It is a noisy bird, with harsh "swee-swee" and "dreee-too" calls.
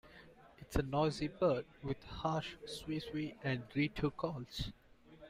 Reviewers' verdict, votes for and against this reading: accepted, 2, 1